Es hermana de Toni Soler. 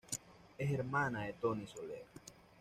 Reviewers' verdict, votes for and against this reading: accepted, 2, 1